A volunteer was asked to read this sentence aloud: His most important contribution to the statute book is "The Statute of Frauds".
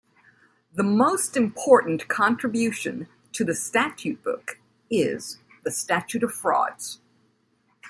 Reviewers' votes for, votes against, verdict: 0, 2, rejected